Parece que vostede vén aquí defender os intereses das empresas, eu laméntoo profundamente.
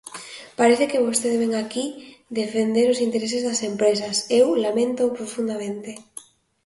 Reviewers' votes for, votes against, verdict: 2, 0, accepted